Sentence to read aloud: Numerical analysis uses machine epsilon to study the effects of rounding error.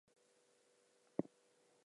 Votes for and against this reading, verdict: 0, 2, rejected